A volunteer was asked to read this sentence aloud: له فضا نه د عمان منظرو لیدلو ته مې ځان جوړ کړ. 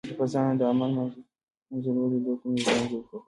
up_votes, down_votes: 1, 2